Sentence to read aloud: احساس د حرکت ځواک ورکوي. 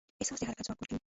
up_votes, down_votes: 0, 2